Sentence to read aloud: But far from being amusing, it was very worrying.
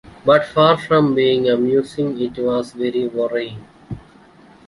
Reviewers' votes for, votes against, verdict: 2, 0, accepted